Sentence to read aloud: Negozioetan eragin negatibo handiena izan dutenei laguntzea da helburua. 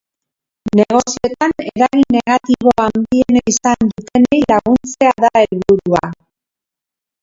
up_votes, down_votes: 0, 2